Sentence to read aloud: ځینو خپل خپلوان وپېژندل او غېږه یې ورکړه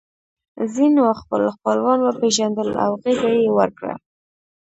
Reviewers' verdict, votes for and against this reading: rejected, 0, 2